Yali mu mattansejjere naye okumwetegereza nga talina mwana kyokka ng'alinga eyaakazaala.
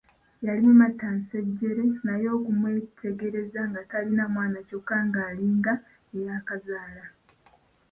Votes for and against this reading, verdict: 1, 2, rejected